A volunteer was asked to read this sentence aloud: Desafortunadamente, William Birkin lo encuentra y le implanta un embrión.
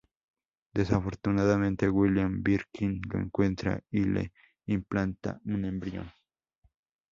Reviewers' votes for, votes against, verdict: 4, 0, accepted